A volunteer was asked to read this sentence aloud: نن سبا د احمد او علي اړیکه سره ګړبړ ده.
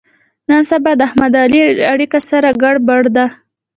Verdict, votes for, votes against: accepted, 2, 1